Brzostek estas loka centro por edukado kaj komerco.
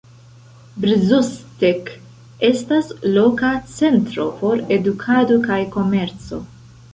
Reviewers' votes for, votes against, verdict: 1, 3, rejected